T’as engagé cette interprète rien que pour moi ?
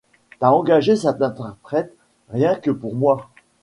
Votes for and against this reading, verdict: 2, 0, accepted